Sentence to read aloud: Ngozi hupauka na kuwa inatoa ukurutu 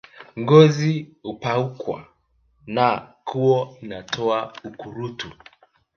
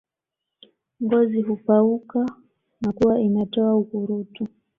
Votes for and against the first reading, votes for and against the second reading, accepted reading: 0, 2, 2, 0, second